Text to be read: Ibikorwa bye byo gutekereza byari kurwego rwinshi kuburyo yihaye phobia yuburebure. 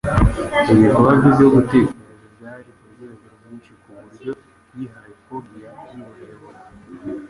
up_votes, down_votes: 1, 2